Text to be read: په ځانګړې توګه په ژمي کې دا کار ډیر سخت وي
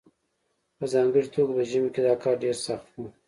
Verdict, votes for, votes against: accepted, 2, 0